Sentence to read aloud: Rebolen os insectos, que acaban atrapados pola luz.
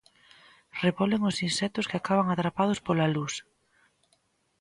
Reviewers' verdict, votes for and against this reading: accepted, 2, 0